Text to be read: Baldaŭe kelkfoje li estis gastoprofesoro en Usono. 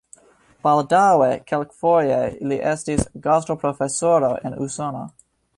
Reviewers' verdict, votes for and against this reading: accepted, 2, 1